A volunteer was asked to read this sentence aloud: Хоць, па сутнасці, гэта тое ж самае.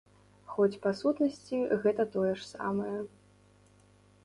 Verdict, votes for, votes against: accepted, 3, 0